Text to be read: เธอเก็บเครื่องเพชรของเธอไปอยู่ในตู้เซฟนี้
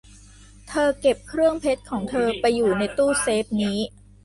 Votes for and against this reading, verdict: 2, 0, accepted